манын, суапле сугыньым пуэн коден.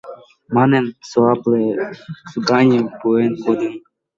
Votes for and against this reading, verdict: 1, 2, rejected